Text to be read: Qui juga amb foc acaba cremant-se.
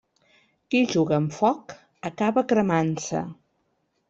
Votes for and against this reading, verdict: 1, 2, rejected